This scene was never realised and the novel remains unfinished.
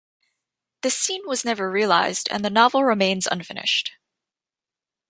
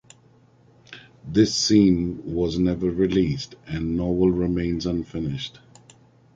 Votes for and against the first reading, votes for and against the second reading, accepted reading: 3, 0, 1, 2, first